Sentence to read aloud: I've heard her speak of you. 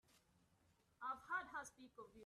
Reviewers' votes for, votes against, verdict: 1, 2, rejected